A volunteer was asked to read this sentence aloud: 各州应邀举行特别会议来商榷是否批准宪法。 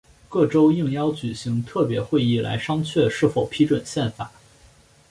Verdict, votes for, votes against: accepted, 3, 0